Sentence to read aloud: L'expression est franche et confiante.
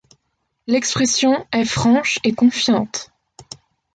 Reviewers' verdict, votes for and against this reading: accepted, 2, 0